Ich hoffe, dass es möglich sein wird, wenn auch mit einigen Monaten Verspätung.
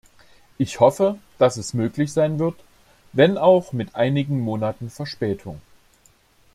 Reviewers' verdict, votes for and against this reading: accepted, 2, 0